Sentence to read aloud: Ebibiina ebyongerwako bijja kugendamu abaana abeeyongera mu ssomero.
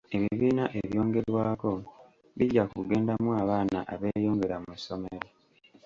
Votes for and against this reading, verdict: 2, 0, accepted